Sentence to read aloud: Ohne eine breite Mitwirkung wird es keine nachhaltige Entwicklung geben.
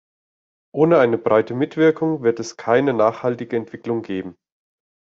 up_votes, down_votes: 2, 0